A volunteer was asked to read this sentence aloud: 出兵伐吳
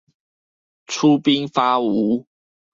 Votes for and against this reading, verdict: 0, 2, rejected